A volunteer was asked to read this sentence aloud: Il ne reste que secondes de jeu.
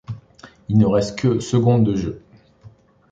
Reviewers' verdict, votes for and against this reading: accepted, 2, 0